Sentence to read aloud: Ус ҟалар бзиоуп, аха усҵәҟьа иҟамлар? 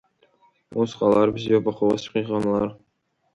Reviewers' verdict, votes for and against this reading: accepted, 2, 0